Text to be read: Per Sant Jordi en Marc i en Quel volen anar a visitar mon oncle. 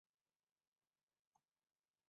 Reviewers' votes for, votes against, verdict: 1, 2, rejected